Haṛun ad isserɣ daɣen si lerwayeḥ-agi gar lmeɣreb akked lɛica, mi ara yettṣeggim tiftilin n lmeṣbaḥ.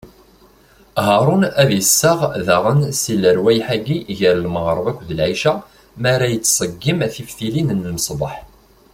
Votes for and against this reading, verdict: 0, 2, rejected